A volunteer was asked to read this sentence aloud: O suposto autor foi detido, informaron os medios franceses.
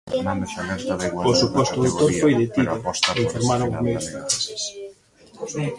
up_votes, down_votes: 0, 2